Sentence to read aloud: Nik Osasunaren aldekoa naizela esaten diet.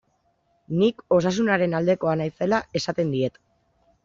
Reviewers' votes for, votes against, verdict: 2, 0, accepted